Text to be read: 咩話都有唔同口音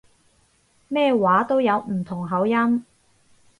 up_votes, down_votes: 2, 0